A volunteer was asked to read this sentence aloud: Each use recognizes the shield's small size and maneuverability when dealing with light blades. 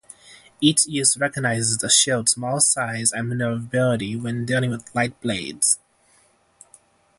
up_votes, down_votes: 3, 3